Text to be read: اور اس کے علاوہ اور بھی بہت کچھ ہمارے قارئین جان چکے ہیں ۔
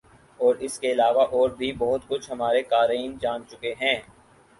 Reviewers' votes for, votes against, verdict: 6, 0, accepted